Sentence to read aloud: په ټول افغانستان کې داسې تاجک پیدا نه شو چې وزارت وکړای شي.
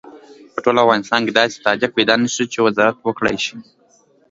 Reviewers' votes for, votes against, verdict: 2, 0, accepted